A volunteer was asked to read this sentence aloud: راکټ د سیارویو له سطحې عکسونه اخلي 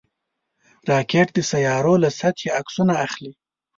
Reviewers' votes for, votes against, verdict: 1, 2, rejected